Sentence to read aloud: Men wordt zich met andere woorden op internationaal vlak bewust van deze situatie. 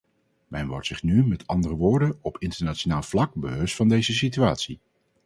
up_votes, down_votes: 2, 2